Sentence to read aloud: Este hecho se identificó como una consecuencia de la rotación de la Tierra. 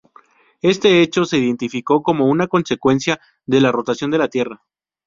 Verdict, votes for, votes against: accepted, 2, 0